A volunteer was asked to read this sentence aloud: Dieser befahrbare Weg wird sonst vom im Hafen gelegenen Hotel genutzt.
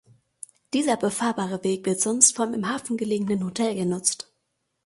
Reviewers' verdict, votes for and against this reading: accepted, 2, 0